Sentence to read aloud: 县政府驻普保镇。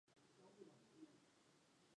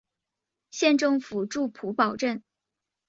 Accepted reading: second